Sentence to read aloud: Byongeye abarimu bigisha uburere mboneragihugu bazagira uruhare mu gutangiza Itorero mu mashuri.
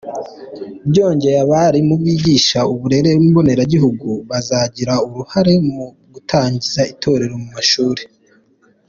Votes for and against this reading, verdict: 2, 1, accepted